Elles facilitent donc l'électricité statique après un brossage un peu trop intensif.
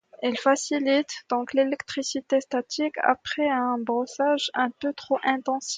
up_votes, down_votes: 2, 0